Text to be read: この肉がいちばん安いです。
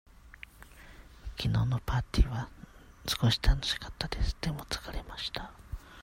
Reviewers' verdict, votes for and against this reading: rejected, 0, 2